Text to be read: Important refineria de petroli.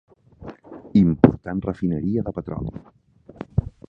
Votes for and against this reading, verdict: 3, 1, accepted